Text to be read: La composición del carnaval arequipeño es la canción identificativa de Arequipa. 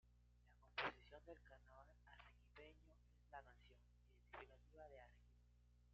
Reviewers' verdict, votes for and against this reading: rejected, 1, 2